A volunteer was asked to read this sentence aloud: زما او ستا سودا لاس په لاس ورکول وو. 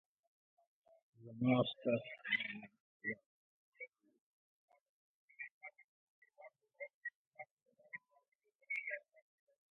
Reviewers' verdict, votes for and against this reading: rejected, 0, 2